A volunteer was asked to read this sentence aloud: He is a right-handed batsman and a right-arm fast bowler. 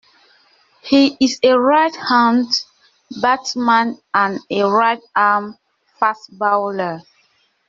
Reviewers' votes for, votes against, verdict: 1, 2, rejected